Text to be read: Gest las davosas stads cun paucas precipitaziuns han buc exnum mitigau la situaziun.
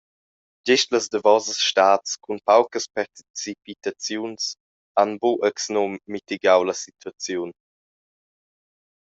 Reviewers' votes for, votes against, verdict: 0, 2, rejected